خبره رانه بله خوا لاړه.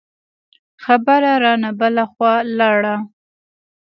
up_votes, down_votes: 2, 0